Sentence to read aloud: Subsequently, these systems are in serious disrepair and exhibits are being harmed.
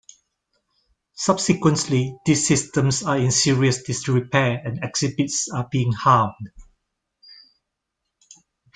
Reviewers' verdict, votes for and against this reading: accepted, 2, 0